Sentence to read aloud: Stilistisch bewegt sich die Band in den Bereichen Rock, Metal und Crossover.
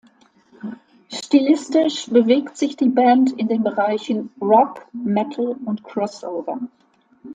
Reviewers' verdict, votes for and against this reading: accepted, 2, 0